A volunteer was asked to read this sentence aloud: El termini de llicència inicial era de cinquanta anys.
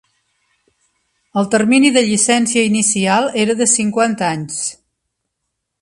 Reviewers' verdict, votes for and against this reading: accepted, 2, 0